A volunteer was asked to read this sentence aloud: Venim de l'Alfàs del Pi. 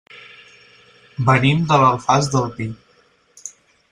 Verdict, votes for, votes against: accepted, 6, 0